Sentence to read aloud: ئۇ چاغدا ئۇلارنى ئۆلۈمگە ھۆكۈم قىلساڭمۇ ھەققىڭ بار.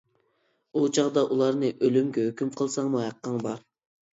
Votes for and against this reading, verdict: 2, 0, accepted